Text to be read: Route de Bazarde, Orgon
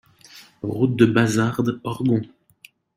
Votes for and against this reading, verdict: 2, 0, accepted